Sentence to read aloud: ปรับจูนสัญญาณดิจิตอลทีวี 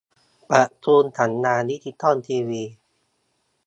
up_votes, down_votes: 0, 2